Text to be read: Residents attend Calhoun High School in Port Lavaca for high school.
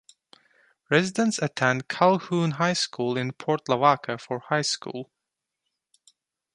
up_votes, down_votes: 2, 1